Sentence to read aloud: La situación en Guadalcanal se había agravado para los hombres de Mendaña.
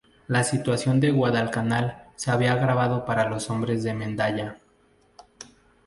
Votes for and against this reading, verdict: 4, 0, accepted